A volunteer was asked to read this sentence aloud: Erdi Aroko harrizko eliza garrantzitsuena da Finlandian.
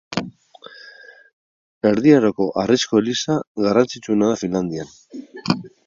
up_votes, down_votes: 4, 0